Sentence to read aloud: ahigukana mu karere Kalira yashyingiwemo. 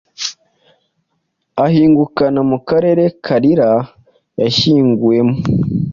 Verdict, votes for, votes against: rejected, 1, 2